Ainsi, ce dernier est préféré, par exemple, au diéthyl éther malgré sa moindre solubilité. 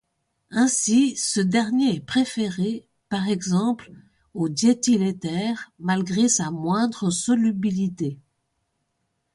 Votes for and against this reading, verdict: 2, 0, accepted